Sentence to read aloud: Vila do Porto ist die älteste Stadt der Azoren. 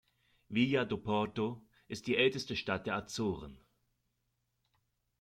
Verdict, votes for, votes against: rejected, 0, 2